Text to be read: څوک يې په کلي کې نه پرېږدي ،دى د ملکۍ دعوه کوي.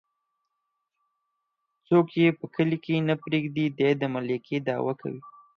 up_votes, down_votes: 4, 0